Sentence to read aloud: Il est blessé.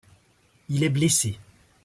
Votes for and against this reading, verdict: 2, 0, accepted